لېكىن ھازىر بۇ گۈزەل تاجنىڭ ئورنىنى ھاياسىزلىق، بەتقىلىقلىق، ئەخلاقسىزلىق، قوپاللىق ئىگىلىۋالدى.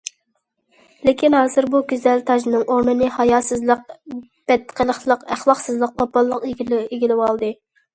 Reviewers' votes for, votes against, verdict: 0, 2, rejected